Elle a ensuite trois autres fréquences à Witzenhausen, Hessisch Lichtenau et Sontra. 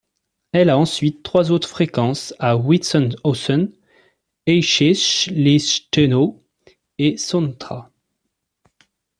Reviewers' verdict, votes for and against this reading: rejected, 0, 2